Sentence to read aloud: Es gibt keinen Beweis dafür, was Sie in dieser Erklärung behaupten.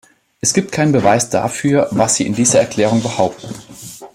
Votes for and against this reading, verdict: 2, 0, accepted